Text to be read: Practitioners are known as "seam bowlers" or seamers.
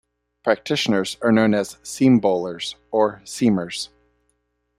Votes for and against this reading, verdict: 2, 0, accepted